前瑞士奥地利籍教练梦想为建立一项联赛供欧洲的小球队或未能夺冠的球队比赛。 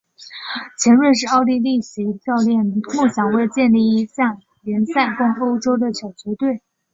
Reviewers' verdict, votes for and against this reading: accepted, 2, 1